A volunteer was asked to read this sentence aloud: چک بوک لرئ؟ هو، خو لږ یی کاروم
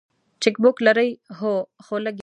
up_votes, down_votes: 0, 3